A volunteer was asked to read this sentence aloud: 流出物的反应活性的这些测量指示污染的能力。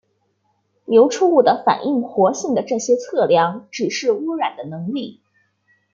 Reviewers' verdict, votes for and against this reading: accepted, 2, 0